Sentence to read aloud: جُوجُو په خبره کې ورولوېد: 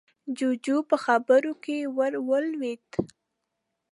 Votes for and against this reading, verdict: 1, 2, rejected